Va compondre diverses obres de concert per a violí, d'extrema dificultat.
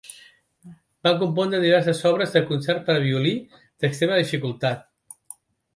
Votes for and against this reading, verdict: 2, 0, accepted